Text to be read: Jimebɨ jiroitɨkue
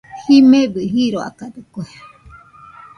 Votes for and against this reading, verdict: 1, 2, rejected